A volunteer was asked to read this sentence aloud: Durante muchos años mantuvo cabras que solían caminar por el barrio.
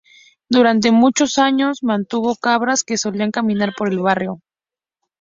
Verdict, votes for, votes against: accepted, 2, 0